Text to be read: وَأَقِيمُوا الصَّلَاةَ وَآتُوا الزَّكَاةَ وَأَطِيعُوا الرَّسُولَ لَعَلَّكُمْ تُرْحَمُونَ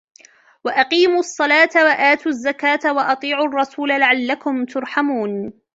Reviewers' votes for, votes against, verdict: 2, 0, accepted